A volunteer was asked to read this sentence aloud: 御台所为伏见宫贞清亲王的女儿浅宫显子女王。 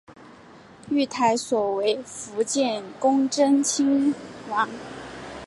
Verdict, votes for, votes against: rejected, 0, 2